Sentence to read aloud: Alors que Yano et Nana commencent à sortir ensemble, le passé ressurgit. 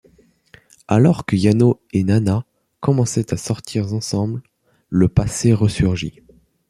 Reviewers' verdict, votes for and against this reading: rejected, 1, 2